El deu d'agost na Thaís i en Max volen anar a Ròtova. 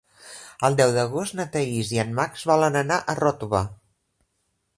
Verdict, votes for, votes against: accepted, 3, 0